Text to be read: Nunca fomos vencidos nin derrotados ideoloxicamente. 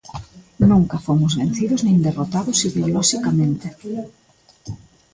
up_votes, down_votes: 2, 0